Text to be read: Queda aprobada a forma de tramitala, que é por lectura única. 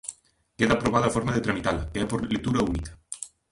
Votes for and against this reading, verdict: 0, 2, rejected